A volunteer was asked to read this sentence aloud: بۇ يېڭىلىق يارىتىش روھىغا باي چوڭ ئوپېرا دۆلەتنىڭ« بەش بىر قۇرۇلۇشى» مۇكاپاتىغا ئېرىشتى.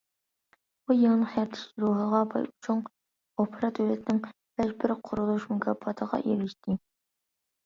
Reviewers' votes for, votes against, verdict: 0, 2, rejected